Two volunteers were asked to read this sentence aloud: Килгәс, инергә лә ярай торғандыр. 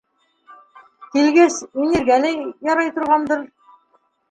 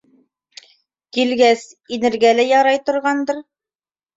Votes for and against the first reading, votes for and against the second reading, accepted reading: 0, 2, 2, 0, second